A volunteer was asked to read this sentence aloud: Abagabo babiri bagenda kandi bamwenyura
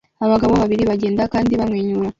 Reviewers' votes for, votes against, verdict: 2, 0, accepted